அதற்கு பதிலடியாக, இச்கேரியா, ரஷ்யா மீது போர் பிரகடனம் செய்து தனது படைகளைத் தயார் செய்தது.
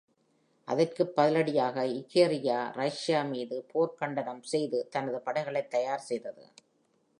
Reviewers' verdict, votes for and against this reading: rejected, 1, 2